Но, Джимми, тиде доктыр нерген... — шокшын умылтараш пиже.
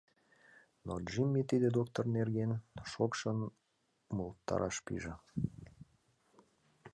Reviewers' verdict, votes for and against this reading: rejected, 1, 2